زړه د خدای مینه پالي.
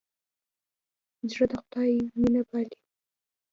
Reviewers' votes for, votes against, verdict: 2, 0, accepted